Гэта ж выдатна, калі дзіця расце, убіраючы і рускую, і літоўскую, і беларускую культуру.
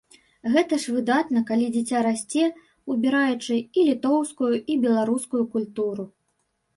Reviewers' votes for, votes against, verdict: 2, 0, accepted